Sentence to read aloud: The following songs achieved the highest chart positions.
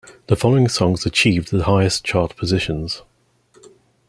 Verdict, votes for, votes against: rejected, 1, 2